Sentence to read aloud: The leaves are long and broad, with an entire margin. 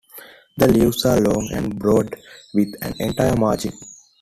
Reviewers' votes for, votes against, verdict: 2, 1, accepted